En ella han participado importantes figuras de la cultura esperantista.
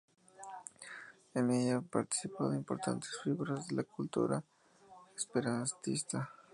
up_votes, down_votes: 0, 2